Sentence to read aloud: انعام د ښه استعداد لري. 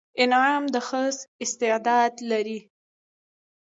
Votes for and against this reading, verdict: 1, 2, rejected